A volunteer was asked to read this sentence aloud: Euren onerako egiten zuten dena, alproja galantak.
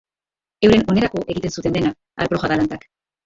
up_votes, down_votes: 2, 1